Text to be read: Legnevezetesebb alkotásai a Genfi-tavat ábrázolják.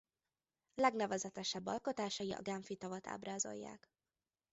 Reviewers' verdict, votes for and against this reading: rejected, 0, 2